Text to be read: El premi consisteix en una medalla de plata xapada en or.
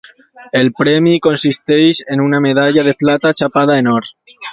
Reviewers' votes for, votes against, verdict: 2, 1, accepted